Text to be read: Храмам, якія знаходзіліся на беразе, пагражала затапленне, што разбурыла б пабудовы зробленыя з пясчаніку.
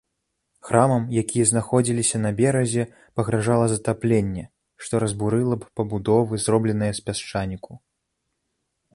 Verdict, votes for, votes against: accepted, 2, 0